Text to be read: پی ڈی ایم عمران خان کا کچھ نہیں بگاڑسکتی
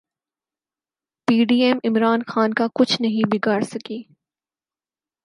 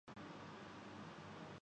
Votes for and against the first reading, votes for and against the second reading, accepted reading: 6, 2, 0, 2, first